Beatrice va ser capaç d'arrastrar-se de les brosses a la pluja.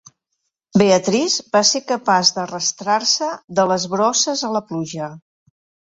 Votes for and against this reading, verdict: 2, 0, accepted